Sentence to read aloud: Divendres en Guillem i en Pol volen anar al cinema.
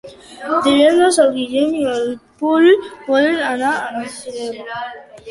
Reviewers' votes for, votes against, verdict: 0, 2, rejected